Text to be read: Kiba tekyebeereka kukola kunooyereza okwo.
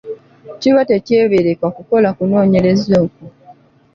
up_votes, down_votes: 2, 0